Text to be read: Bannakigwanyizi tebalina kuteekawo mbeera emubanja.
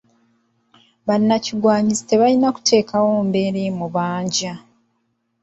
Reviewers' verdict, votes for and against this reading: rejected, 0, 2